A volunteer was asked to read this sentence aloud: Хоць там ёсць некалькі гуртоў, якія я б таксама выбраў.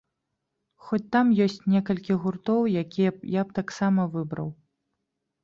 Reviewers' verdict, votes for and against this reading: rejected, 1, 2